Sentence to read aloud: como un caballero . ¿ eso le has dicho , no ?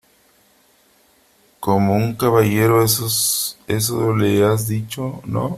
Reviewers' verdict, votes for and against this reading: rejected, 1, 3